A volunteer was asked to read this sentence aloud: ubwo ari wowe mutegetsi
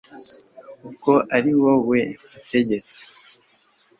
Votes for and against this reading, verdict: 2, 0, accepted